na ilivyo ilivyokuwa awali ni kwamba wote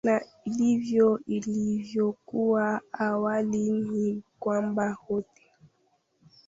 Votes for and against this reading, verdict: 0, 2, rejected